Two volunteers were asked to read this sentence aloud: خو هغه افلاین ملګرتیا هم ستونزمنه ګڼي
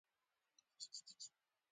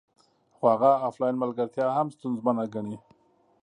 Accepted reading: second